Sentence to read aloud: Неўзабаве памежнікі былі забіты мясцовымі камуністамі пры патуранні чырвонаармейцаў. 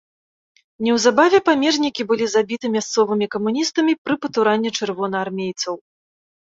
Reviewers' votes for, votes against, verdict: 2, 0, accepted